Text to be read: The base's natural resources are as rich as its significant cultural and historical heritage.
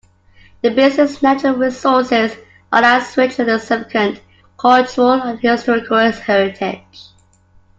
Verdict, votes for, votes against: rejected, 0, 2